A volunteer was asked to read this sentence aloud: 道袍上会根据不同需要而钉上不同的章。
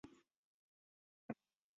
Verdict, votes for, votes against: rejected, 1, 5